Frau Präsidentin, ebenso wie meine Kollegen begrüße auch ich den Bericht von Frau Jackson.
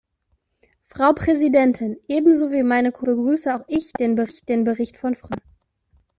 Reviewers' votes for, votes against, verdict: 0, 2, rejected